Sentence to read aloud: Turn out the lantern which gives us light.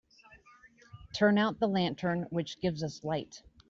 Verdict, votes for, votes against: rejected, 0, 2